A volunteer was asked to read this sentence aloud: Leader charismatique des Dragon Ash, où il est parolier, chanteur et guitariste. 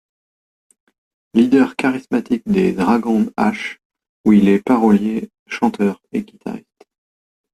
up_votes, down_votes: 0, 2